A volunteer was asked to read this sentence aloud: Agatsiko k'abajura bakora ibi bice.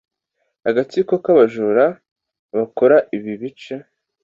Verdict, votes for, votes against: accepted, 2, 0